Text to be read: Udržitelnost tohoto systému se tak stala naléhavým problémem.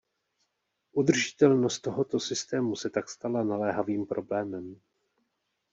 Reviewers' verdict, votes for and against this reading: rejected, 1, 2